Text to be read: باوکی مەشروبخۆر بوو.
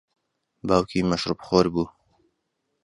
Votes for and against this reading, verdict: 2, 0, accepted